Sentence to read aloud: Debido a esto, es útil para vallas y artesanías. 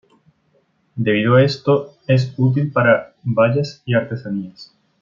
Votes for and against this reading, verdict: 2, 0, accepted